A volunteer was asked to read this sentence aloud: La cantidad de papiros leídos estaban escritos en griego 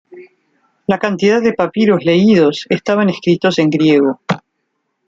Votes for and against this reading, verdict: 2, 0, accepted